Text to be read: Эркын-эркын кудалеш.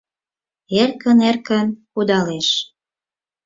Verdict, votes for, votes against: accepted, 4, 0